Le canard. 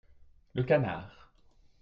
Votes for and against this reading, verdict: 2, 0, accepted